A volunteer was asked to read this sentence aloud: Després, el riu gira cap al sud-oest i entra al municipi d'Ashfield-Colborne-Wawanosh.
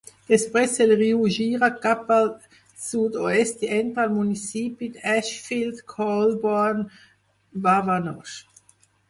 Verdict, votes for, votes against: rejected, 0, 4